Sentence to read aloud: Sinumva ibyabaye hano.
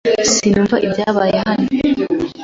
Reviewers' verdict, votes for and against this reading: accepted, 2, 1